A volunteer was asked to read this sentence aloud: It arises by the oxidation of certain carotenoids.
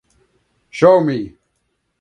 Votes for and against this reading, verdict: 0, 2, rejected